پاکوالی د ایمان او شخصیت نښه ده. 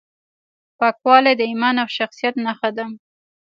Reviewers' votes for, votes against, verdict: 2, 0, accepted